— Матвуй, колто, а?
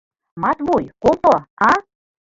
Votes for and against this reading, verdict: 2, 0, accepted